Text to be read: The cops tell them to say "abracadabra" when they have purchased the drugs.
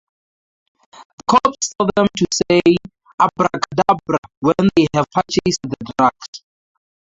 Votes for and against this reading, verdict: 0, 2, rejected